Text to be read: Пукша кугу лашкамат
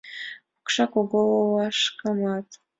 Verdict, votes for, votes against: accepted, 2, 0